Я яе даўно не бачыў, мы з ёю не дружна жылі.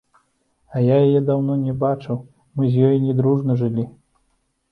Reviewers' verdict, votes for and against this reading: rejected, 0, 2